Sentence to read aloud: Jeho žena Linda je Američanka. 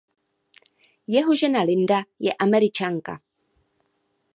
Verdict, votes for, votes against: accepted, 2, 0